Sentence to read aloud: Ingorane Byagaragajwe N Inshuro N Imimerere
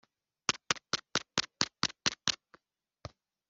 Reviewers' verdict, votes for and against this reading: rejected, 0, 2